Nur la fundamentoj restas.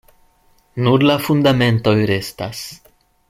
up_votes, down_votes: 2, 0